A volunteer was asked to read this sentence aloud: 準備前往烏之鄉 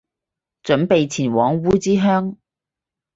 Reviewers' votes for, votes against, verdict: 6, 0, accepted